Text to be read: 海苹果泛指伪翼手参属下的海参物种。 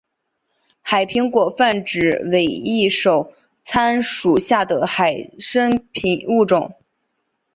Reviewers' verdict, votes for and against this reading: accepted, 2, 1